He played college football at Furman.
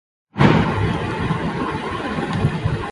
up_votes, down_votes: 0, 2